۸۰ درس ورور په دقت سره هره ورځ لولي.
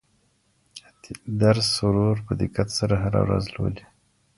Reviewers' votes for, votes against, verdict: 0, 2, rejected